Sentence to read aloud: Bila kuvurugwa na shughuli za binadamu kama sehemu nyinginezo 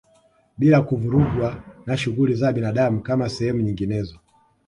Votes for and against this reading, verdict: 2, 1, accepted